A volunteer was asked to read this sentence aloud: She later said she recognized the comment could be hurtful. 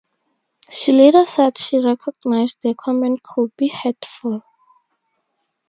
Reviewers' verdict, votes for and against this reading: accepted, 2, 0